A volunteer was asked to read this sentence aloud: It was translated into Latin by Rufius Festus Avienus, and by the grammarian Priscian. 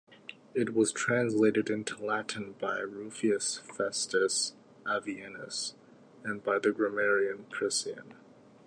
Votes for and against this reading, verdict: 2, 0, accepted